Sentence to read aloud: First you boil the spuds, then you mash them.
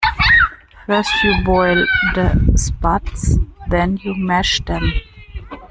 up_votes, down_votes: 0, 2